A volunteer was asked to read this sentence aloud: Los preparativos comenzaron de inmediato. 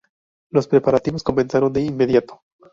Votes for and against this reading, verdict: 2, 2, rejected